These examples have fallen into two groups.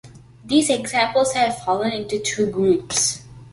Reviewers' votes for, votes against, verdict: 2, 0, accepted